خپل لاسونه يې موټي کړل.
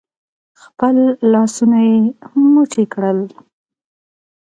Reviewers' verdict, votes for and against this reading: accepted, 2, 0